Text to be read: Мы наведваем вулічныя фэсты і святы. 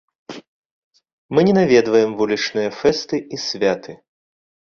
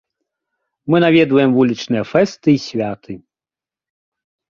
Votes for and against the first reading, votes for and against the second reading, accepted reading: 0, 2, 2, 0, second